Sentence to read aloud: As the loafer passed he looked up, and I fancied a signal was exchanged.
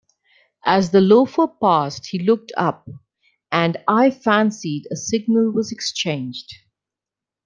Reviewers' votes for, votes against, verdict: 2, 0, accepted